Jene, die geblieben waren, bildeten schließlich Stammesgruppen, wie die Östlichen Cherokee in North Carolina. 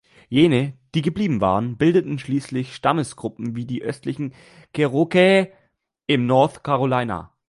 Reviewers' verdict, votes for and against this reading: rejected, 1, 2